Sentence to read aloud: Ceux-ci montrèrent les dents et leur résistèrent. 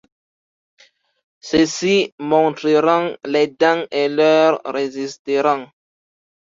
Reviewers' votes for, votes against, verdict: 0, 3, rejected